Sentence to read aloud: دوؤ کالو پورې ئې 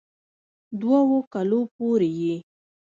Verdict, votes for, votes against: rejected, 1, 2